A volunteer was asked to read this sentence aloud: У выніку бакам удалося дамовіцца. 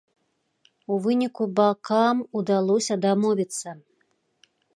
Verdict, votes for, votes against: rejected, 0, 2